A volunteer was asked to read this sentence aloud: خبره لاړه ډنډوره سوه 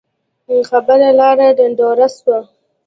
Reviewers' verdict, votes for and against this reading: accepted, 2, 0